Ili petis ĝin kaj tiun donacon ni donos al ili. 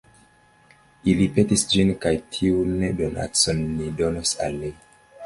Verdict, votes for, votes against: rejected, 0, 2